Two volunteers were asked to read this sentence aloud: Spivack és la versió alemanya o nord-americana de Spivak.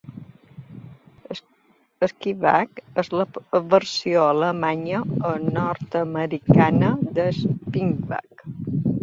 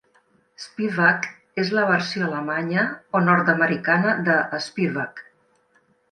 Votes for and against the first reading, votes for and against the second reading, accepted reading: 0, 2, 2, 0, second